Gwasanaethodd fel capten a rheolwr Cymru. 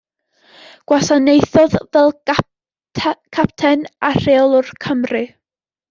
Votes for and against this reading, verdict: 1, 2, rejected